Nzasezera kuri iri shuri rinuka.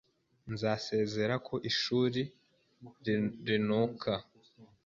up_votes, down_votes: 2, 3